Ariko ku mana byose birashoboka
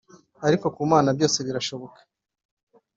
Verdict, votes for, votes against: accepted, 2, 0